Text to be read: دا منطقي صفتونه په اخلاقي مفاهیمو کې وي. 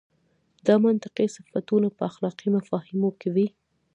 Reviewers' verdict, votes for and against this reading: rejected, 0, 2